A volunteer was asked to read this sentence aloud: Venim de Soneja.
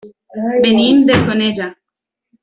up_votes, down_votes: 1, 2